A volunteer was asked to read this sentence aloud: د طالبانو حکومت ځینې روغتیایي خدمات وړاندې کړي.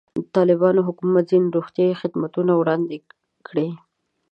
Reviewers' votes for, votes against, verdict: 0, 2, rejected